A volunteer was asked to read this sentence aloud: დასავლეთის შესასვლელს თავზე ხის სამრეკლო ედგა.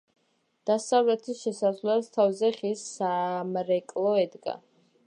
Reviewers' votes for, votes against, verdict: 1, 2, rejected